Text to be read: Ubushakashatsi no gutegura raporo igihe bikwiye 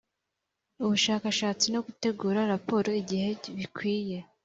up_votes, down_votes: 2, 0